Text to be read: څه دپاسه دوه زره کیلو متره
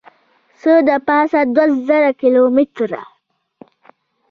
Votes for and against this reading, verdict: 1, 2, rejected